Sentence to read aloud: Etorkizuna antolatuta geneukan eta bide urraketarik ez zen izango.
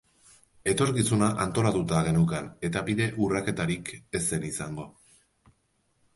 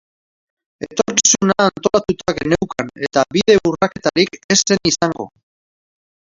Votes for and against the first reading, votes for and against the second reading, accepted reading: 4, 0, 0, 2, first